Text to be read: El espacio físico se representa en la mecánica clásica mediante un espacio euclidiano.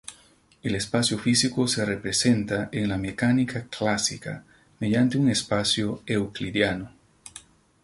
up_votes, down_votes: 2, 0